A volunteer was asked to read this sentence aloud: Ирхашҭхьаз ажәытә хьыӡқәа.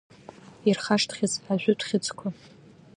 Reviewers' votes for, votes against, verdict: 2, 1, accepted